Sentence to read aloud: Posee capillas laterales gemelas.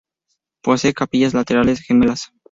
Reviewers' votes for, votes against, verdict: 2, 0, accepted